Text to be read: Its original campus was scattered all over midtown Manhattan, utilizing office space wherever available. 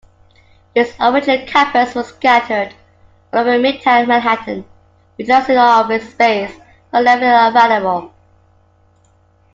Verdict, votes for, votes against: rejected, 1, 2